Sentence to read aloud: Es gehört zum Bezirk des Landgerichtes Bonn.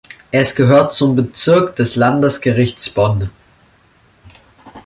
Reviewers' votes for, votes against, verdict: 0, 2, rejected